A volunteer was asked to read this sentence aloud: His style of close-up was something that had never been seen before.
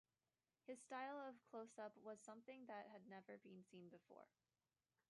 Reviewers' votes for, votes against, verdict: 2, 0, accepted